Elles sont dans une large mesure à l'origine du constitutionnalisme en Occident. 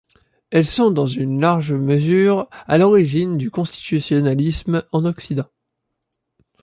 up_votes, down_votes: 2, 0